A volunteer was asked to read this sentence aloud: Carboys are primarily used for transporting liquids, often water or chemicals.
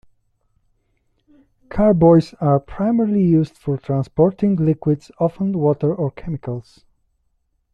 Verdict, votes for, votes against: accepted, 2, 0